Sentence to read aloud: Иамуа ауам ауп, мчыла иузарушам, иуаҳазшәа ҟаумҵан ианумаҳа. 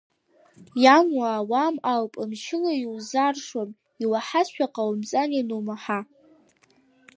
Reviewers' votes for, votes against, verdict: 2, 1, accepted